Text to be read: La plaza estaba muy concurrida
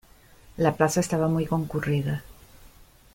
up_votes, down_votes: 2, 0